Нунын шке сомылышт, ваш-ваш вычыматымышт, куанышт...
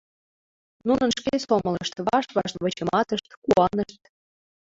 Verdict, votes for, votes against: rejected, 1, 2